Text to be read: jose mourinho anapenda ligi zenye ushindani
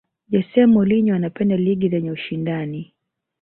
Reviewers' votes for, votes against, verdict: 1, 2, rejected